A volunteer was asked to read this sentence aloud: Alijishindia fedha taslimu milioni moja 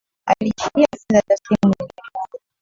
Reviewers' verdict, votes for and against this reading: rejected, 0, 2